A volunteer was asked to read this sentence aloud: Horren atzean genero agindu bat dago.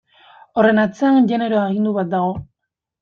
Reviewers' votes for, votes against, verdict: 1, 2, rejected